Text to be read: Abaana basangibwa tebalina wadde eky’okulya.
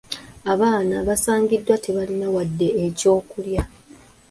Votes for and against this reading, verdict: 0, 2, rejected